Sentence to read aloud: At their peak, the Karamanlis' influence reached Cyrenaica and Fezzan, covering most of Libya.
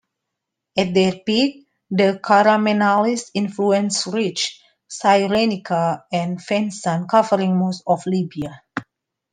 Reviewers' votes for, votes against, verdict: 2, 1, accepted